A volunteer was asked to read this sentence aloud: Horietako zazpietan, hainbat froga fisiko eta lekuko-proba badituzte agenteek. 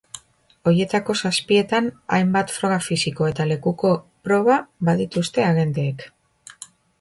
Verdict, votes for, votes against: rejected, 0, 2